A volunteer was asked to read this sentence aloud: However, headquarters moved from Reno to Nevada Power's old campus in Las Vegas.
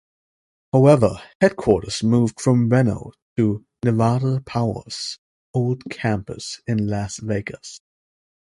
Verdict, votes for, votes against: rejected, 0, 2